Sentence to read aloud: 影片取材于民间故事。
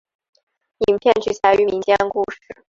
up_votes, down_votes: 3, 0